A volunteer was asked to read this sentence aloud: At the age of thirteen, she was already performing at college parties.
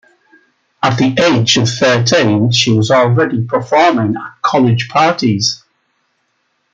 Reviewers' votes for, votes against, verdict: 2, 0, accepted